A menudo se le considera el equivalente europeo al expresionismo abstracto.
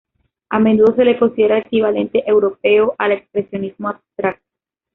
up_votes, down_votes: 1, 2